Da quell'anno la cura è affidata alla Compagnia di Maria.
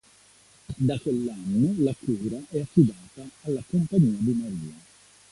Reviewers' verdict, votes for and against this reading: accepted, 2, 0